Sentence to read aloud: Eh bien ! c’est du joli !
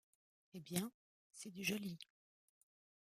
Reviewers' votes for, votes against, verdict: 2, 0, accepted